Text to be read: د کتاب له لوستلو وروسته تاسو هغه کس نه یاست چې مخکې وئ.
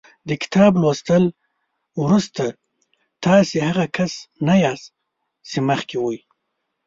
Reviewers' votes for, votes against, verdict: 0, 2, rejected